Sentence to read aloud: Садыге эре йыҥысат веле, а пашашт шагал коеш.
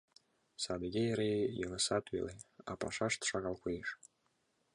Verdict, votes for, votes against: accepted, 2, 0